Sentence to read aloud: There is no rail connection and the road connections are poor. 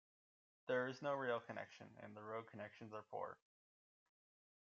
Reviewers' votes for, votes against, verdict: 0, 2, rejected